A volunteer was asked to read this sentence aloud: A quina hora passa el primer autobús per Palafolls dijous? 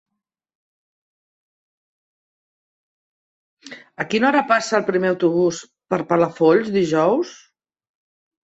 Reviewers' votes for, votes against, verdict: 0, 2, rejected